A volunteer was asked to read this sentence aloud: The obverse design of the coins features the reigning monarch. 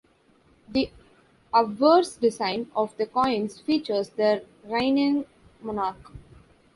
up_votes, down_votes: 1, 2